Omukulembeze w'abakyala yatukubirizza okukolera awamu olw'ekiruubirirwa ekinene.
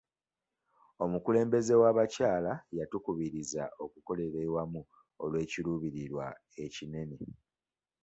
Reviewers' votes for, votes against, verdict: 2, 1, accepted